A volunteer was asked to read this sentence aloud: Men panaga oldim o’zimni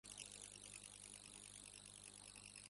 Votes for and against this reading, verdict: 0, 2, rejected